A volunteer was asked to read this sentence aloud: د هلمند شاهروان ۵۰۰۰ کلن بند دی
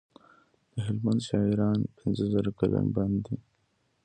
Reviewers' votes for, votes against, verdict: 0, 2, rejected